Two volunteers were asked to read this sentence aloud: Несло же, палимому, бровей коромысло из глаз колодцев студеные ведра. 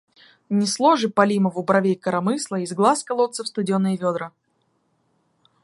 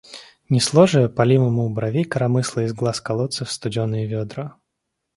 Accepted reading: second